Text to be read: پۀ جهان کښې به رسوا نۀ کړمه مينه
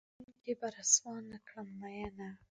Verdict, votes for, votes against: rejected, 0, 2